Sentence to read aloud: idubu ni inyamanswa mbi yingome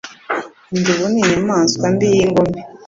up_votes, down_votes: 2, 0